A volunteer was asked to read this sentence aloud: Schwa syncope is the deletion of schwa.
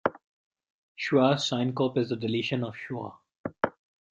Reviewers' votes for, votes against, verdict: 1, 2, rejected